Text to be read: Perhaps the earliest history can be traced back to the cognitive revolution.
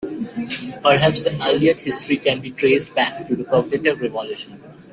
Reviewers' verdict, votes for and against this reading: accepted, 2, 1